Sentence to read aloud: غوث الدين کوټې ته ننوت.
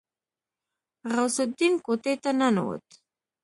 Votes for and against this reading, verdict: 2, 0, accepted